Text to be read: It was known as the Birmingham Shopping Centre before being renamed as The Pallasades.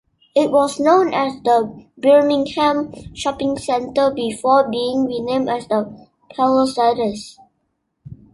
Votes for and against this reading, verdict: 2, 0, accepted